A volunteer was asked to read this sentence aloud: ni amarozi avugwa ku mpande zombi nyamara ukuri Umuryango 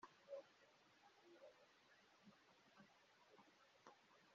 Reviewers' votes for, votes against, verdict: 0, 2, rejected